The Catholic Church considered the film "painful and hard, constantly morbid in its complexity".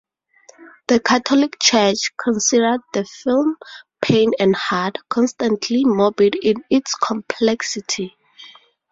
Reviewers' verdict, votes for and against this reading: accepted, 2, 0